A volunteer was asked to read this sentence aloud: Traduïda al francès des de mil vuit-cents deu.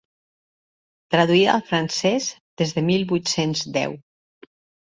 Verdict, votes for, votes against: accepted, 2, 0